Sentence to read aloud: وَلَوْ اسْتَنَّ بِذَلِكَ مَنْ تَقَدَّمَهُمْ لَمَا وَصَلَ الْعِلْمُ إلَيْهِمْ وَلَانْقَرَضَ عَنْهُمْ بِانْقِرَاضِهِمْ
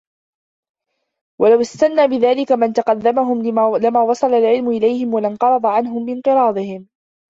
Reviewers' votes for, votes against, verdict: 0, 3, rejected